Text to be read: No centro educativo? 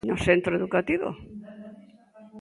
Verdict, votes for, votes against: rejected, 0, 2